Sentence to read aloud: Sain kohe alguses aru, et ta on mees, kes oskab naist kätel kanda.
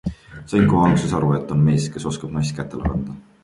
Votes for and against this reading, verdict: 2, 1, accepted